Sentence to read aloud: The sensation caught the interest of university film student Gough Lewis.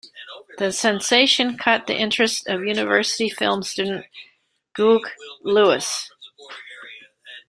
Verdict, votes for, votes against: rejected, 0, 2